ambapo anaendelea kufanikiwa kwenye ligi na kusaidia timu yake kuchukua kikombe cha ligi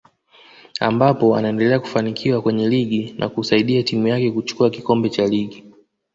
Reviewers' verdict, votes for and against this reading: accepted, 2, 0